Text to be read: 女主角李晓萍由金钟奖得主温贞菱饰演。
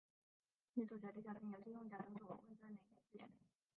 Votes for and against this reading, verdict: 2, 3, rejected